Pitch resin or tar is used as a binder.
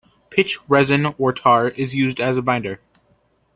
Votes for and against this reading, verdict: 2, 0, accepted